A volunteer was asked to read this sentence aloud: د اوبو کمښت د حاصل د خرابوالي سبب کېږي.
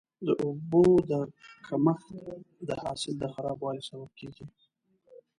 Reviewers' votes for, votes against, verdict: 1, 2, rejected